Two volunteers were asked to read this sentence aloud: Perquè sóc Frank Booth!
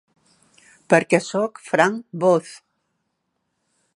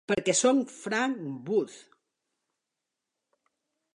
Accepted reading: first